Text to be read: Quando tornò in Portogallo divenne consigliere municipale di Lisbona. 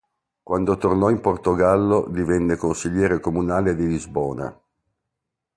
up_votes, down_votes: 1, 2